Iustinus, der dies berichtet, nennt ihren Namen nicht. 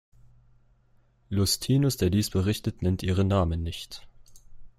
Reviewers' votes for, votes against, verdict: 1, 2, rejected